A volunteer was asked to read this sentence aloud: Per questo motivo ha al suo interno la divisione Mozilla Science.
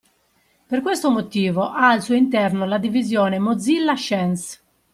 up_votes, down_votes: 1, 2